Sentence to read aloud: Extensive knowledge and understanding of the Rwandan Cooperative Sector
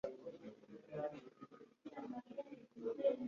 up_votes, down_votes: 0, 2